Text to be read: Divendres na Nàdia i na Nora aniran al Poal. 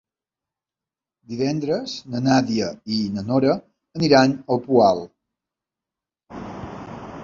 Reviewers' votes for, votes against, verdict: 2, 0, accepted